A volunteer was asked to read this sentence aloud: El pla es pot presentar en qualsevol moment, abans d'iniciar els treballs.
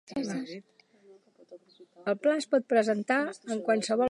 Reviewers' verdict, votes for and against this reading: rejected, 0, 2